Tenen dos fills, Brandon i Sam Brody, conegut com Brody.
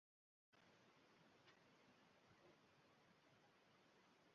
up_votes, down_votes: 0, 2